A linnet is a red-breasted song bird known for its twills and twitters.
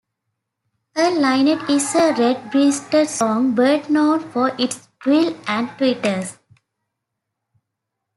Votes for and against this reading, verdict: 1, 2, rejected